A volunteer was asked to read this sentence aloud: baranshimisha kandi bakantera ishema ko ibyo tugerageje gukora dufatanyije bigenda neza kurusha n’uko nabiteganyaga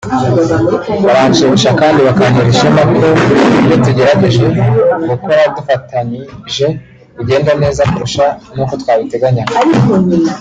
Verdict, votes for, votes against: rejected, 0, 2